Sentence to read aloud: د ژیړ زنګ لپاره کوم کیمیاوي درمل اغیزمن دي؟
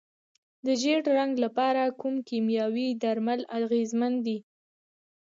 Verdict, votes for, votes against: rejected, 0, 2